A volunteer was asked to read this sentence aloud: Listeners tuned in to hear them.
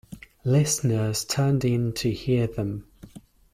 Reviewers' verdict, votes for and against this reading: rejected, 1, 2